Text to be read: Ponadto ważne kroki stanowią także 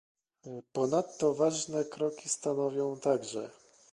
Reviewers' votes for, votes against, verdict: 2, 0, accepted